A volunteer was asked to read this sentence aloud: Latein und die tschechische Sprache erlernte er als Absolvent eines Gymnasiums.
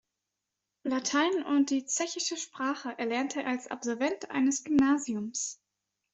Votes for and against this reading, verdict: 1, 2, rejected